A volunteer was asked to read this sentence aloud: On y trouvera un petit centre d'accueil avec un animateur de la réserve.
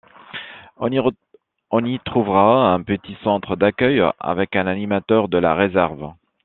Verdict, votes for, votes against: rejected, 0, 2